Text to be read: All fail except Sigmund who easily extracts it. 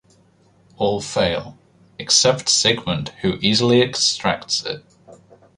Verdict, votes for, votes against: accepted, 2, 0